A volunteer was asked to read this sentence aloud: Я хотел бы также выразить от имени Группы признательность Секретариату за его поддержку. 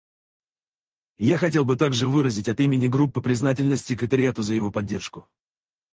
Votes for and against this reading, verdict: 0, 4, rejected